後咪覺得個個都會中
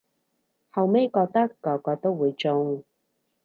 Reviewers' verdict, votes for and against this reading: rejected, 2, 2